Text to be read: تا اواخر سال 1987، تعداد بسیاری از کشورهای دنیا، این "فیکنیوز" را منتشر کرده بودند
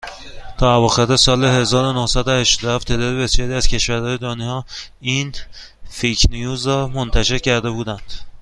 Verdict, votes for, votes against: rejected, 0, 2